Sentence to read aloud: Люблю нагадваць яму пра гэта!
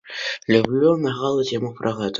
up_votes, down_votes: 0, 2